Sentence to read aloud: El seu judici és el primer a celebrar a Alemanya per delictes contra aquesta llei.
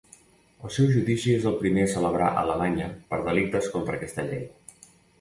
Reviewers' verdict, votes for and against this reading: accepted, 2, 0